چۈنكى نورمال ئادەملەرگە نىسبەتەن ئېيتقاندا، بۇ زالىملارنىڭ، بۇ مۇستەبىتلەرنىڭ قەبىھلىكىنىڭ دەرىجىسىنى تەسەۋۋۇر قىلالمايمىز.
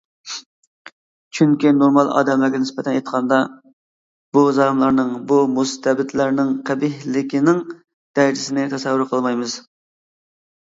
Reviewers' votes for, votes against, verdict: 0, 2, rejected